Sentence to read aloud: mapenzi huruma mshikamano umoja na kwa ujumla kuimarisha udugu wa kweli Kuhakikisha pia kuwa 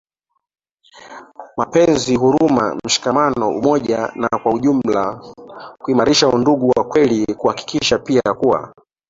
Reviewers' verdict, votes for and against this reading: accepted, 2, 0